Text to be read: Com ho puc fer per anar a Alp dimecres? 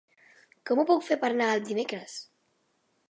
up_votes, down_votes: 0, 2